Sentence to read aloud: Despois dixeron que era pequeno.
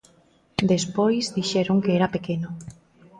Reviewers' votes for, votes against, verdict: 3, 0, accepted